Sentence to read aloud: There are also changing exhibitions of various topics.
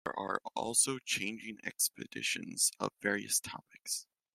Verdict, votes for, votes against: rejected, 0, 2